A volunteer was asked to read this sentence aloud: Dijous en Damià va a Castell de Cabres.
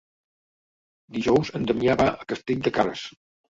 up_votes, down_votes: 1, 2